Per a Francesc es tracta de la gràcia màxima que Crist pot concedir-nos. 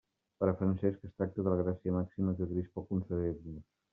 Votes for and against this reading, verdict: 2, 0, accepted